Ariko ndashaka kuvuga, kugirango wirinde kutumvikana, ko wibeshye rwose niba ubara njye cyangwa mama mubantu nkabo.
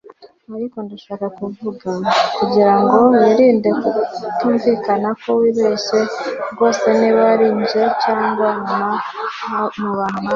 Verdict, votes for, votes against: rejected, 1, 2